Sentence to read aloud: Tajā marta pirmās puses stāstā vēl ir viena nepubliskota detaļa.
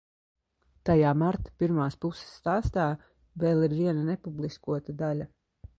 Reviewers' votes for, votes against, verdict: 0, 2, rejected